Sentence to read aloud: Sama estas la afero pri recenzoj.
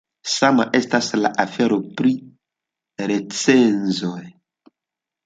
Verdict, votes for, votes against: accepted, 2, 0